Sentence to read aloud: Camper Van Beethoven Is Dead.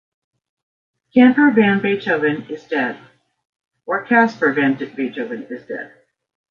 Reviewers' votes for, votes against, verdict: 1, 2, rejected